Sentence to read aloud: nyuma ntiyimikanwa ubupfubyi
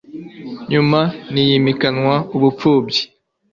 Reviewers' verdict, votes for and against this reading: accepted, 2, 0